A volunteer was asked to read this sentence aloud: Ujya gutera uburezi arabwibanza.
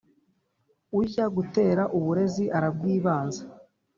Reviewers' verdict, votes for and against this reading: accepted, 2, 0